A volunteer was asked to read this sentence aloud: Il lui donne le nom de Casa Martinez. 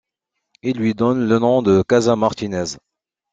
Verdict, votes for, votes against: accepted, 2, 0